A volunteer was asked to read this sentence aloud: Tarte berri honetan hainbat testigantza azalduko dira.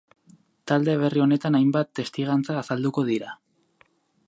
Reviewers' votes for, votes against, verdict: 2, 2, rejected